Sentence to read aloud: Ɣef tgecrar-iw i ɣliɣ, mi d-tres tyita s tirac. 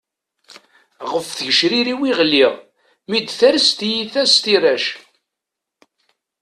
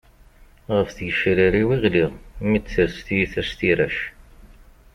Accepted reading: second